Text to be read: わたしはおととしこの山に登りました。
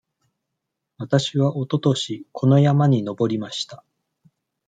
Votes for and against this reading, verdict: 2, 0, accepted